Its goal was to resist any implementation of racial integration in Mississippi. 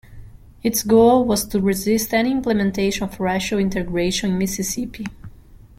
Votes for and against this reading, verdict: 0, 2, rejected